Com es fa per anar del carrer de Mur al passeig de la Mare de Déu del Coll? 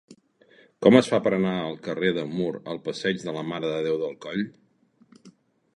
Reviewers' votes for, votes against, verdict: 0, 2, rejected